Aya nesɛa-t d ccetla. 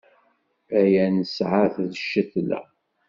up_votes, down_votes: 2, 0